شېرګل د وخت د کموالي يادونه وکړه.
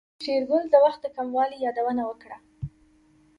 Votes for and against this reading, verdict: 2, 1, accepted